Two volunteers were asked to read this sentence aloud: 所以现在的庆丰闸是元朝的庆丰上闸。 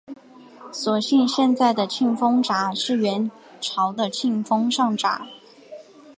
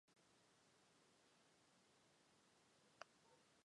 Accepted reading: first